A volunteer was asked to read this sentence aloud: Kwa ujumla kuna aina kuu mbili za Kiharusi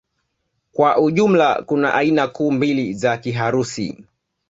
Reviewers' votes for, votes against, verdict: 2, 0, accepted